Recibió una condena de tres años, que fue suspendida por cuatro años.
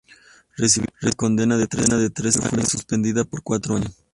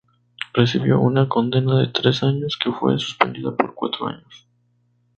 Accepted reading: second